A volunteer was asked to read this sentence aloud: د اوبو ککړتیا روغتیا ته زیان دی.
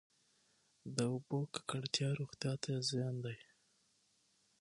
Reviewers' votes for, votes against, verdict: 3, 6, rejected